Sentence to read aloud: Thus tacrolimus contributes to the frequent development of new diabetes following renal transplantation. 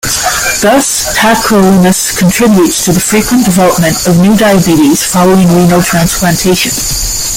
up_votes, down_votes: 1, 2